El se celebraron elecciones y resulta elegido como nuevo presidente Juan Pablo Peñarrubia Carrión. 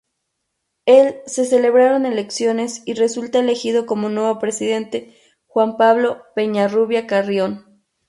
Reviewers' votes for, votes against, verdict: 0, 2, rejected